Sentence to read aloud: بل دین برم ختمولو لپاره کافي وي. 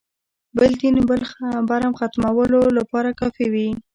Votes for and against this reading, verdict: 1, 2, rejected